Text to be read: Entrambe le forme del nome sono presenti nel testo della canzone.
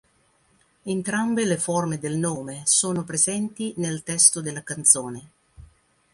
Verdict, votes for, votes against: accepted, 2, 0